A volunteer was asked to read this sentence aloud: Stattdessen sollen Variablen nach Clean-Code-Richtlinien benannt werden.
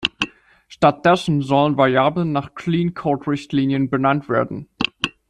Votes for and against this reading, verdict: 1, 2, rejected